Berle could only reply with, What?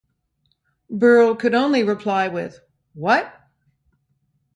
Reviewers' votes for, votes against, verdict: 2, 0, accepted